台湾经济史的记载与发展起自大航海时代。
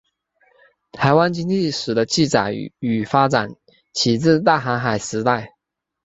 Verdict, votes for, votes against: accepted, 2, 0